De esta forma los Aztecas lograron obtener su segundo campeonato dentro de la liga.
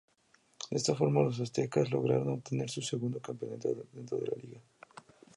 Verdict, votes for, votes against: accepted, 2, 0